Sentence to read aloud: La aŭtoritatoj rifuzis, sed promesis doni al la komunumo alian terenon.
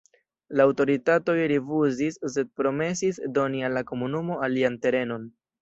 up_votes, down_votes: 2, 1